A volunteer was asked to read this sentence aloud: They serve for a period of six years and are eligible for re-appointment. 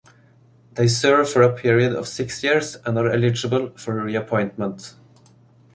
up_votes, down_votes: 2, 0